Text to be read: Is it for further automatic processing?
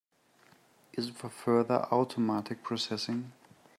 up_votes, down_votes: 2, 0